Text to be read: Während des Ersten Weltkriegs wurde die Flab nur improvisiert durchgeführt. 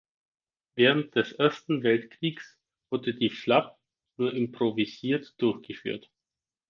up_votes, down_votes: 4, 0